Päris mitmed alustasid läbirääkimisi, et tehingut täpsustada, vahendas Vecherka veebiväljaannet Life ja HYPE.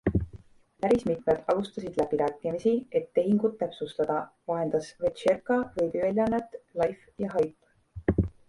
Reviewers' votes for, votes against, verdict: 2, 0, accepted